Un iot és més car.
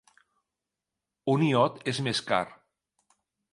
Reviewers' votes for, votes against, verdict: 3, 0, accepted